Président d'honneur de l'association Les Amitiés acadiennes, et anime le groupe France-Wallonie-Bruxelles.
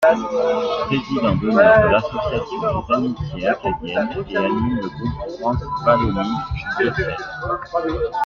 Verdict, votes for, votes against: accepted, 2, 1